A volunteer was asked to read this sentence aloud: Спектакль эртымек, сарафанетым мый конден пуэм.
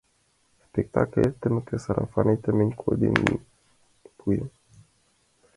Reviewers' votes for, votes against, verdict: 0, 2, rejected